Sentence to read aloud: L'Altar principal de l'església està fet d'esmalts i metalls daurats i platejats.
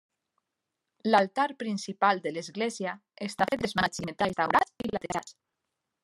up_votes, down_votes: 0, 2